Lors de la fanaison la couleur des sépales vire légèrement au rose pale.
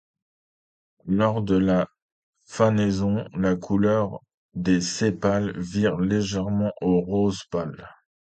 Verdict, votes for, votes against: accepted, 2, 0